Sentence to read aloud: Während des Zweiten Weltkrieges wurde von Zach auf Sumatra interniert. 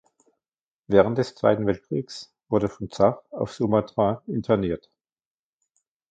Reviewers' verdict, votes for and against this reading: rejected, 1, 2